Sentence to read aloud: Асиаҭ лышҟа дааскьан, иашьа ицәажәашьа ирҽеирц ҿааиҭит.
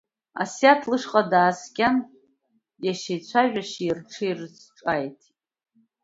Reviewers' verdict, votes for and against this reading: accepted, 2, 0